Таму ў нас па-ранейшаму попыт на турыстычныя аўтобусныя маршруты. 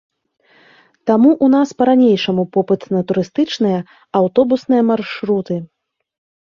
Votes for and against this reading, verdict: 2, 0, accepted